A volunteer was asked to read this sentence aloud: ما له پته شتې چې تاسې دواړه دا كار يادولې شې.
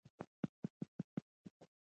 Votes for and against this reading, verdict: 0, 3, rejected